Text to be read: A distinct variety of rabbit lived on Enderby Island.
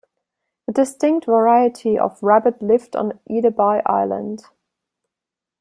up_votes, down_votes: 1, 2